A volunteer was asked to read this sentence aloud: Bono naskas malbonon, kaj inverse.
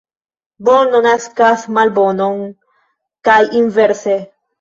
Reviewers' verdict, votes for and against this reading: rejected, 1, 2